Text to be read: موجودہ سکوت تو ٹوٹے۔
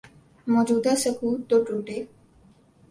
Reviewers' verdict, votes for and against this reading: accepted, 4, 0